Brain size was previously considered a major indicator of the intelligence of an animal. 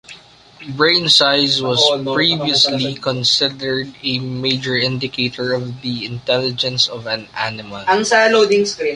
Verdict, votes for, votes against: rejected, 1, 2